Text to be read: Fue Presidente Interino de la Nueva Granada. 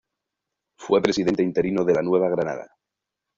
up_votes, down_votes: 1, 2